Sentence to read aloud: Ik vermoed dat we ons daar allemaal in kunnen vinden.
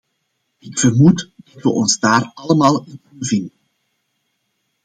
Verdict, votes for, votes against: rejected, 1, 2